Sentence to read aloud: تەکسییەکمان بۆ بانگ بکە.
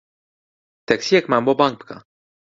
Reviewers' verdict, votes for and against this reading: accepted, 2, 0